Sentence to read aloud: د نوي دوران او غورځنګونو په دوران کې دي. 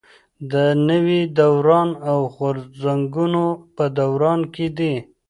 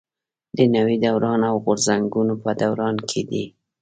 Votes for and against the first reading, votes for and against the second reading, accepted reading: 1, 2, 2, 0, second